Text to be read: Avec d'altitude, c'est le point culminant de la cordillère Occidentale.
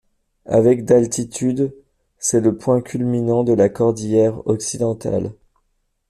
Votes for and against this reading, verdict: 2, 0, accepted